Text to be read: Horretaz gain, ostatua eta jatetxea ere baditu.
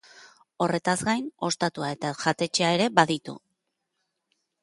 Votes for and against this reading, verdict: 3, 0, accepted